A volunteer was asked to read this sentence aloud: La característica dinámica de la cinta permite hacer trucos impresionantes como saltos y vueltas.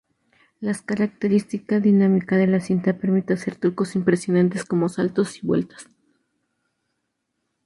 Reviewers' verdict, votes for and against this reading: rejected, 0, 2